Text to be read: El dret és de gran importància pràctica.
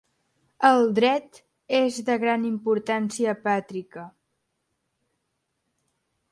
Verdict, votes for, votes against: rejected, 1, 2